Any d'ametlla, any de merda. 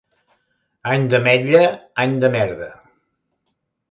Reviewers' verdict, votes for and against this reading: accepted, 2, 0